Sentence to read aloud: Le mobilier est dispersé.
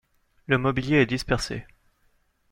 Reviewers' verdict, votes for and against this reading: accepted, 2, 0